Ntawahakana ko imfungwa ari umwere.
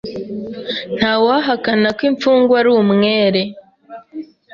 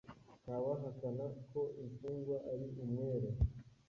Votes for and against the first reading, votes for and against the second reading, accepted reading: 2, 0, 1, 2, first